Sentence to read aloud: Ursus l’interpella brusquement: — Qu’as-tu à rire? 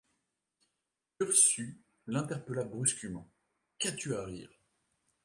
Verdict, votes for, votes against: rejected, 1, 2